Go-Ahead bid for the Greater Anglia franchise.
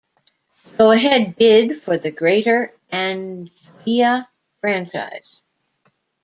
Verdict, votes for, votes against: rejected, 1, 2